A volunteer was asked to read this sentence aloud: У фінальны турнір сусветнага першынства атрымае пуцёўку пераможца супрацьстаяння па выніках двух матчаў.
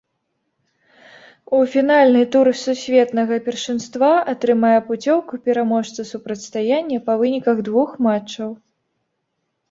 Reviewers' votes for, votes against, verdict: 0, 2, rejected